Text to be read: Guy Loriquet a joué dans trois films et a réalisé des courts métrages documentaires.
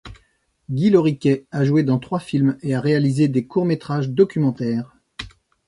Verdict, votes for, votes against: accepted, 2, 0